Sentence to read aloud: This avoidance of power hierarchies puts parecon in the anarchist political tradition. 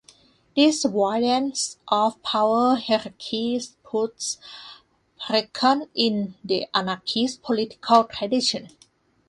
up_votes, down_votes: 2, 1